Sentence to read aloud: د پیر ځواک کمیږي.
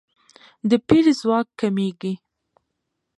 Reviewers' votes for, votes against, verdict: 1, 2, rejected